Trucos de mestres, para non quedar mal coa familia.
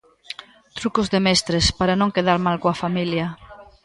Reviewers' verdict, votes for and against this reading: accepted, 2, 0